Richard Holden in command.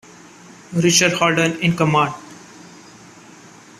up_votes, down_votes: 0, 2